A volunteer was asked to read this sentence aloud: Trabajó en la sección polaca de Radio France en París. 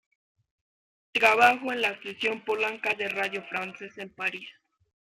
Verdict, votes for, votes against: accepted, 2, 1